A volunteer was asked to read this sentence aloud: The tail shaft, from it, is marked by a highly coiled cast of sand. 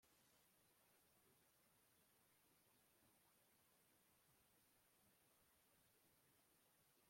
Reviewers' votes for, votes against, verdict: 0, 2, rejected